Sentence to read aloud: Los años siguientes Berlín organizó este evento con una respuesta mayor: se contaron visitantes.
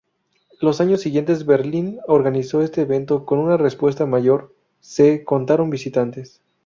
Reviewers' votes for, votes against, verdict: 2, 0, accepted